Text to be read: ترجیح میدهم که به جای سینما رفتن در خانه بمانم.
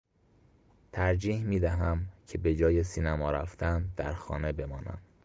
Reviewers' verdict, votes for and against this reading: rejected, 1, 2